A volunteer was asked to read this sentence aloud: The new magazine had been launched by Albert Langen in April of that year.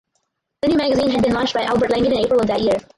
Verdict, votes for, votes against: rejected, 2, 2